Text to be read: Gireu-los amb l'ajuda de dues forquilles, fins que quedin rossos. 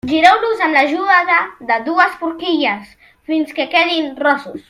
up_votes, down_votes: 1, 2